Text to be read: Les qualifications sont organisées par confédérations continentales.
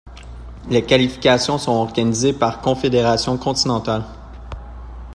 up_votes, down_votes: 2, 0